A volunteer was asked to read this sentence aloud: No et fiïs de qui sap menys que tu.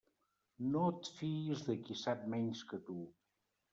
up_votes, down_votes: 1, 2